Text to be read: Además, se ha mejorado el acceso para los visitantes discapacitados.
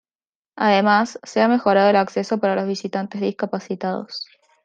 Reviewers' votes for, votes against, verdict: 2, 0, accepted